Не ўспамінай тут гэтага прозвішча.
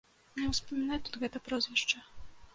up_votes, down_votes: 1, 3